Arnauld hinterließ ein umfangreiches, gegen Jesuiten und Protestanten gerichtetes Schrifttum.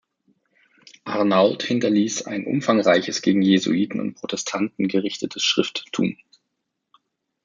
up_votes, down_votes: 2, 0